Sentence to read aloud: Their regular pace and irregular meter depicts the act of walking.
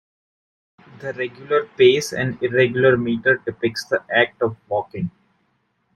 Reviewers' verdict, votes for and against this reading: accepted, 2, 1